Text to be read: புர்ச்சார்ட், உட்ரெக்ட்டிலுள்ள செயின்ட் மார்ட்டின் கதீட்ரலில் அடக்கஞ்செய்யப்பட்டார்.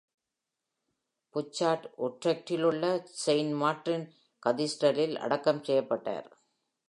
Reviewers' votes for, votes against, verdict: 2, 0, accepted